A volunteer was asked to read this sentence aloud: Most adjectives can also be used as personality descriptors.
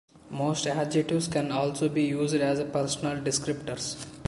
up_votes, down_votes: 0, 2